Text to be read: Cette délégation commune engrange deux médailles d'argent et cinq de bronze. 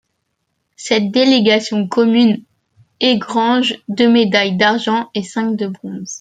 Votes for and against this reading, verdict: 1, 2, rejected